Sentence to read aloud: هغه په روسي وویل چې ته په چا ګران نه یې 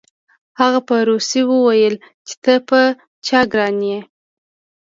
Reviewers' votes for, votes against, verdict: 1, 2, rejected